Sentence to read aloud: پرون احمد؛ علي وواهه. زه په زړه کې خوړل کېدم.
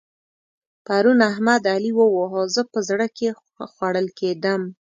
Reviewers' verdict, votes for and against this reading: accepted, 2, 0